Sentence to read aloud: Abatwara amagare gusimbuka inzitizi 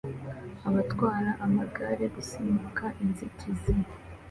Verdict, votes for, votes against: accepted, 2, 0